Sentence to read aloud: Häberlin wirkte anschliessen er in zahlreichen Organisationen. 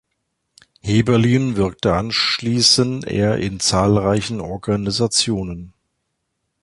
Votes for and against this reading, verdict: 1, 2, rejected